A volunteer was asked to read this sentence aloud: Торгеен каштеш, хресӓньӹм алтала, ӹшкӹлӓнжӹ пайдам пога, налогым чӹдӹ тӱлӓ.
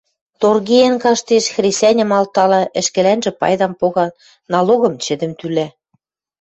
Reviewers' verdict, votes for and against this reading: rejected, 1, 2